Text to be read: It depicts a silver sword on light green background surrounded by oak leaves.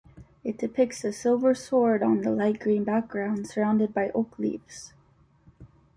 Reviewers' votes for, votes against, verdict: 2, 1, accepted